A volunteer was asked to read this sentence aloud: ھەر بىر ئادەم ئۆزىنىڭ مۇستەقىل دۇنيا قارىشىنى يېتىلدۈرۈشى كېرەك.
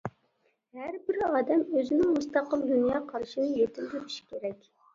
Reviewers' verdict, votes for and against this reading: accepted, 2, 1